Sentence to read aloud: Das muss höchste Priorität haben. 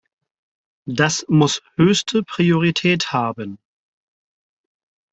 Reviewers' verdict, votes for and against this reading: accepted, 4, 0